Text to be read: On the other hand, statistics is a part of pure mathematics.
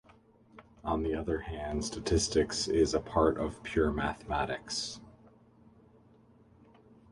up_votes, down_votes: 2, 0